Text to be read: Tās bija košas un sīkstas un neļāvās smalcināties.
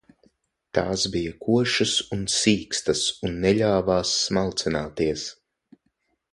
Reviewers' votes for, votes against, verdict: 6, 0, accepted